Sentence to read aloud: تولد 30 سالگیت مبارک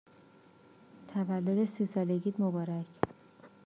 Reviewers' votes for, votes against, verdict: 0, 2, rejected